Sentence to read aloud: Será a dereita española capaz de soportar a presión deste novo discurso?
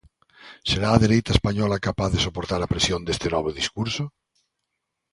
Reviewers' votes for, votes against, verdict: 2, 0, accepted